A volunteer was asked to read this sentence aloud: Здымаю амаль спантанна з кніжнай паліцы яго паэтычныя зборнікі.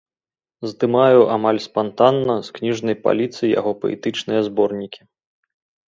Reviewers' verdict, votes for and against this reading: accepted, 2, 0